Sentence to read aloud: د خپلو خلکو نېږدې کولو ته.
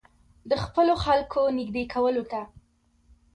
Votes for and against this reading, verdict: 2, 0, accepted